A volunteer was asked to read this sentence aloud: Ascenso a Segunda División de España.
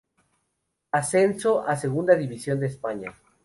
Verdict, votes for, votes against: accepted, 2, 0